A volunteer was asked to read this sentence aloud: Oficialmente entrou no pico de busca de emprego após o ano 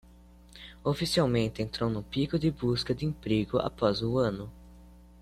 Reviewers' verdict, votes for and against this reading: accepted, 2, 0